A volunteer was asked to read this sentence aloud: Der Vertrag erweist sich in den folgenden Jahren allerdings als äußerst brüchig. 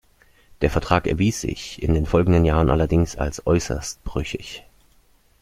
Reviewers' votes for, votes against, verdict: 0, 2, rejected